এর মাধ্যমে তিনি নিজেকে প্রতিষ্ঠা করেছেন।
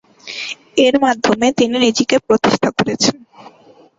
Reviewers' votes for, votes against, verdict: 0, 2, rejected